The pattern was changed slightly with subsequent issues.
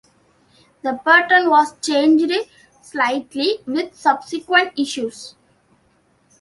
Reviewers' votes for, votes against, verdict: 2, 1, accepted